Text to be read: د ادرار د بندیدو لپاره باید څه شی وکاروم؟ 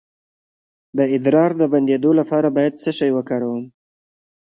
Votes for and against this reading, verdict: 2, 1, accepted